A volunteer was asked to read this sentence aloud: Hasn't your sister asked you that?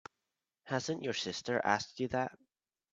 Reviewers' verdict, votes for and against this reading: accepted, 2, 0